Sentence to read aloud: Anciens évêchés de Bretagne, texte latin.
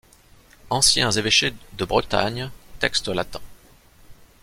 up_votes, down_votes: 2, 1